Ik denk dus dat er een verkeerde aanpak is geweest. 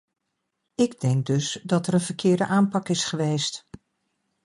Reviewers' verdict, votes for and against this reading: accepted, 2, 0